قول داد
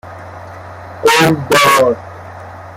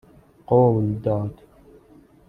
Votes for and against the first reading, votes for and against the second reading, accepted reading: 0, 2, 2, 0, second